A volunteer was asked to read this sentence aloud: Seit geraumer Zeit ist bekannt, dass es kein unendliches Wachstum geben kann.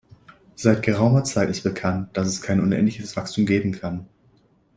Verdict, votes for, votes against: accepted, 2, 0